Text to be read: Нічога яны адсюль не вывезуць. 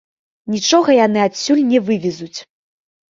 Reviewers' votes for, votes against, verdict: 2, 1, accepted